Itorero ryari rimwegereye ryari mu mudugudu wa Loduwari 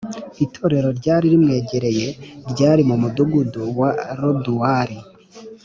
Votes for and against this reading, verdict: 2, 0, accepted